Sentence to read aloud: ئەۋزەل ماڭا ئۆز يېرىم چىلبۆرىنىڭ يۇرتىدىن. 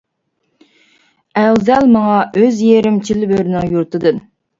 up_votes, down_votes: 2, 0